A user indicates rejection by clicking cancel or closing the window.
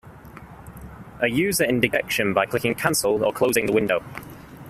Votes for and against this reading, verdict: 0, 2, rejected